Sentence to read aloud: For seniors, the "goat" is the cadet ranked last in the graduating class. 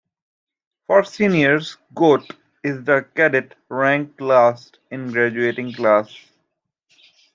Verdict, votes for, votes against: rejected, 0, 2